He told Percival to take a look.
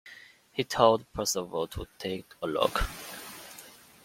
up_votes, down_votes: 3, 0